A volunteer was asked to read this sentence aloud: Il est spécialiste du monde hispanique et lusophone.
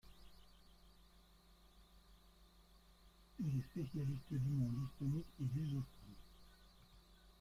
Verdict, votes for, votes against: rejected, 0, 2